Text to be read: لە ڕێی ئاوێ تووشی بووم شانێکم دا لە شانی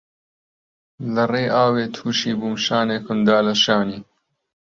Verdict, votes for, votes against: accepted, 2, 0